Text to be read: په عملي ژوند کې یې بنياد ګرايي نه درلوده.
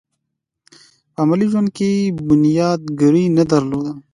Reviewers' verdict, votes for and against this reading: accepted, 2, 0